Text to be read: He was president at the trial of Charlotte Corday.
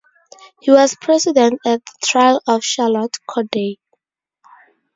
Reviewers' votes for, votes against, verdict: 2, 2, rejected